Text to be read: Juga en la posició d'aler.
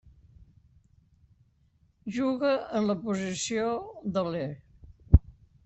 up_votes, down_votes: 2, 0